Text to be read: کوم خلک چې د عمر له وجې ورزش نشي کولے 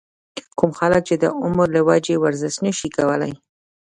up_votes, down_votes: 1, 2